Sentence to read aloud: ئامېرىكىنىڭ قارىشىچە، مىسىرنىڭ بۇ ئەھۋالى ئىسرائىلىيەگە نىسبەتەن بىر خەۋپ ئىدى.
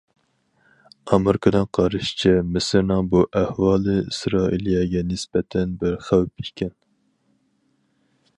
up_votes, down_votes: 0, 4